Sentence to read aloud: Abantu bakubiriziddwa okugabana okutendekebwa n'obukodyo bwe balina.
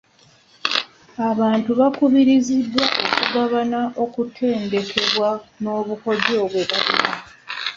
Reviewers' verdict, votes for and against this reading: rejected, 0, 2